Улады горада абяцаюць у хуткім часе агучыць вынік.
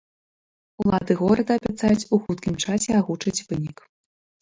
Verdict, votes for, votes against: rejected, 1, 2